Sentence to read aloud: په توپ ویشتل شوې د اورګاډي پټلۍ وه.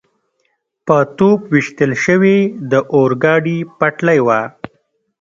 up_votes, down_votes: 2, 0